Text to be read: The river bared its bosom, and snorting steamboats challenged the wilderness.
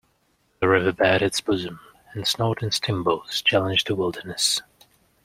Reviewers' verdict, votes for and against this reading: accepted, 2, 0